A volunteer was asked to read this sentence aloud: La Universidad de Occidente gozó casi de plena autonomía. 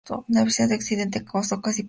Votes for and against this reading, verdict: 0, 2, rejected